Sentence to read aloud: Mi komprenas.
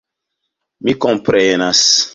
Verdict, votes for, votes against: accepted, 2, 0